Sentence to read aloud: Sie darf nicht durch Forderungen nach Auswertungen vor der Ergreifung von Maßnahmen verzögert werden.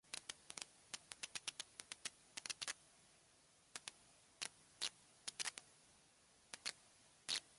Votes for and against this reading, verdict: 0, 2, rejected